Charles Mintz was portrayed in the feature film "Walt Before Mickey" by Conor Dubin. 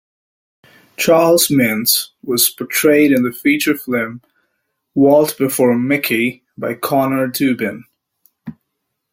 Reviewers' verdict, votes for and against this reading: accepted, 2, 1